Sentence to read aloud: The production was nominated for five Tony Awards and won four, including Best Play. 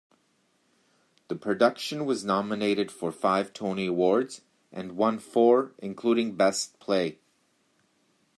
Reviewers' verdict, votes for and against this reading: accepted, 2, 1